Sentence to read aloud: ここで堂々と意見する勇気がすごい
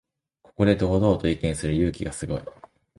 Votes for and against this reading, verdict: 2, 0, accepted